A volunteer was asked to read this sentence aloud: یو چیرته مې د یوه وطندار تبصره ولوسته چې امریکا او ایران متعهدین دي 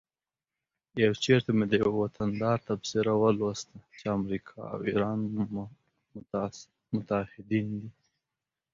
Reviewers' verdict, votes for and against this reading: rejected, 1, 2